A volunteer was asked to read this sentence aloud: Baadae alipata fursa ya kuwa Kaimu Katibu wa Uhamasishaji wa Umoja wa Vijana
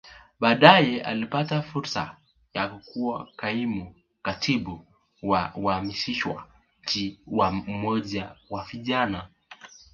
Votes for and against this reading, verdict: 1, 3, rejected